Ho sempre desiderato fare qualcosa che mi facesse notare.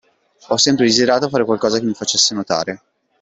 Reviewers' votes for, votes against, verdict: 2, 1, accepted